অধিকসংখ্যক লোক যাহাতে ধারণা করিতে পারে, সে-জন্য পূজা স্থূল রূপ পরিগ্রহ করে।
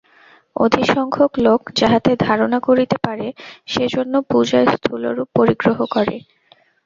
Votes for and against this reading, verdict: 2, 0, accepted